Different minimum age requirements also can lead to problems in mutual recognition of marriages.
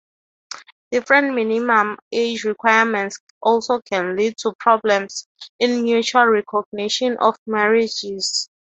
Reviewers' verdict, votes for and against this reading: accepted, 3, 0